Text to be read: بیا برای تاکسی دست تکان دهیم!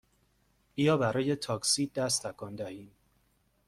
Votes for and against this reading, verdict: 2, 0, accepted